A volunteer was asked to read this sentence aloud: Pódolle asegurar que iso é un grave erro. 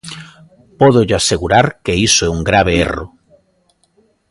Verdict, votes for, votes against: accepted, 2, 0